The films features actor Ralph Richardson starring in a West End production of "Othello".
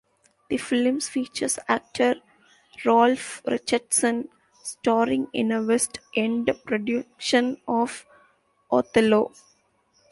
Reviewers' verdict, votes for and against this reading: accepted, 2, 1